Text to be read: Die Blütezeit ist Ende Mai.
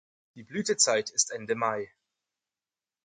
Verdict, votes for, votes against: accepted, 4, 0